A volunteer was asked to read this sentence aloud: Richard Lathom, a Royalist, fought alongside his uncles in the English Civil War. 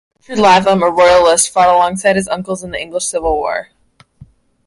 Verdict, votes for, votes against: rejected, 0, 2